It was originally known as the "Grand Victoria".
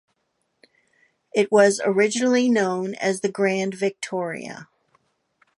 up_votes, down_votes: 2, 0